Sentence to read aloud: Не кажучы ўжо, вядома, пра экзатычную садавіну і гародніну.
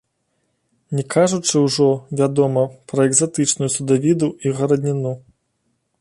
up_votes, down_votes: 1, 2